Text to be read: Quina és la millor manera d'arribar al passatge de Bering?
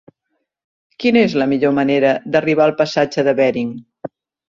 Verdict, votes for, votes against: accepted, 3, 0